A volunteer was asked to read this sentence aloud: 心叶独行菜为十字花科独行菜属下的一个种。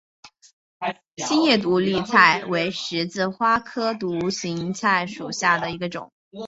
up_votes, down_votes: 2, 0